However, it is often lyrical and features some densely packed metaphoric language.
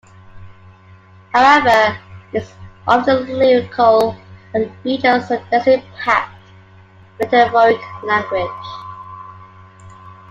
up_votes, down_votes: 0, 2